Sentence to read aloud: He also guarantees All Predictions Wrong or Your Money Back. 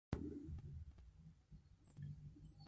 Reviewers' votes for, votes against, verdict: 0, 2, rejected